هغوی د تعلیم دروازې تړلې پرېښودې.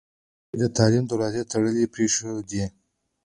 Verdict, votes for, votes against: accepted, 2, 0